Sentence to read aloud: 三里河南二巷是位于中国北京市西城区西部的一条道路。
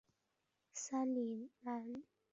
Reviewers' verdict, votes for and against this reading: rejected, 0, 4